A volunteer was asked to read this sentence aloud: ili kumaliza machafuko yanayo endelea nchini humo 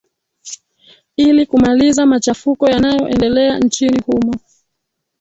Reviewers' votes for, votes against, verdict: 2, 0, accepted